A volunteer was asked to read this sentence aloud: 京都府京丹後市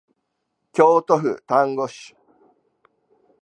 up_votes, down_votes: 2, 1